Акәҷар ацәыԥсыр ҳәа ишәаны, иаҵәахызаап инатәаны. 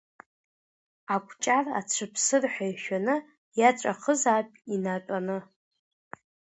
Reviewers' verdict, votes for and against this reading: accepted, 2, 0